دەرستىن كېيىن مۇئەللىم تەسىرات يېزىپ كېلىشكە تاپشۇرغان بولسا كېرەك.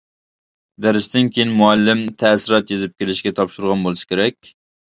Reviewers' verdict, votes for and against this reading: accepted, 2, 0